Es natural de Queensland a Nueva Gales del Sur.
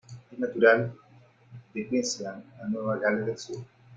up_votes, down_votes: 2, 1